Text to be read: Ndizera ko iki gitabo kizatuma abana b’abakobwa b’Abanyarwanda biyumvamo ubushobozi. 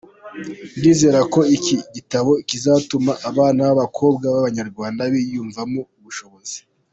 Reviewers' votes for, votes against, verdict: 2, 1, accepted